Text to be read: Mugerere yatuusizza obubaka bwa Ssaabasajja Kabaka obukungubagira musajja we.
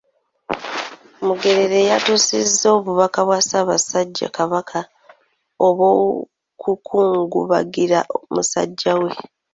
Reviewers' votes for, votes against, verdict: 0, 2, rejected